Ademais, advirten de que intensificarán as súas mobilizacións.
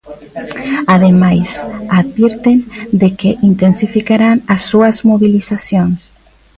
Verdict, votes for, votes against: accepted, 2, 0